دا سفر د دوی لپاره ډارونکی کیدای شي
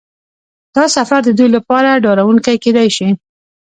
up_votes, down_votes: 1, 2